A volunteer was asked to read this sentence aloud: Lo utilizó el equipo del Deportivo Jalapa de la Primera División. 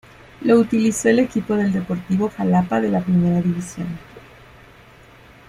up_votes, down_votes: 2, 0